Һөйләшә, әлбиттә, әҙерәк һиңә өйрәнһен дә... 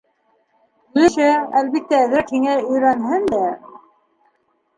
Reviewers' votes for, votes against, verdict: 1, 2, rejected